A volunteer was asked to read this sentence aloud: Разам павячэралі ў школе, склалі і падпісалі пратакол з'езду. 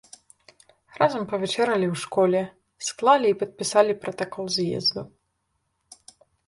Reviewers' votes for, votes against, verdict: 2, 0, accepted